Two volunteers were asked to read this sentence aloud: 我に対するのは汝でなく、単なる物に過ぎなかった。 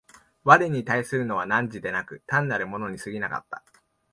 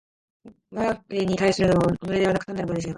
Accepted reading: first